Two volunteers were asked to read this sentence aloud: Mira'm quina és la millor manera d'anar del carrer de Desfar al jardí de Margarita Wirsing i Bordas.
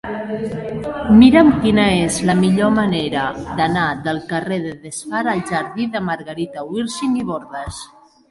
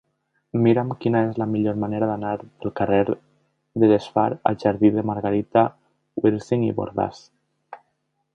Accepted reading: first